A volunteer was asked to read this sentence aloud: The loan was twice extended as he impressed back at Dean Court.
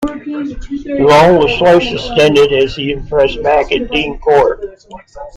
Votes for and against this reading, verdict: 0, 2, rejected